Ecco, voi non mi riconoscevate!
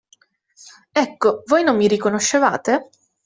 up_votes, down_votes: 2, 1